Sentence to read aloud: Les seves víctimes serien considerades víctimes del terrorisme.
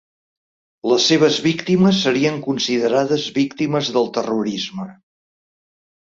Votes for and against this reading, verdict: 3, 0, accepted